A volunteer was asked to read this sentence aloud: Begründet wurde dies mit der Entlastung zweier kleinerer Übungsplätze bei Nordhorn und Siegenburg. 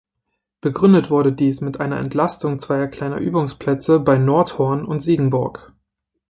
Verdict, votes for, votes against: rejected, 1, 2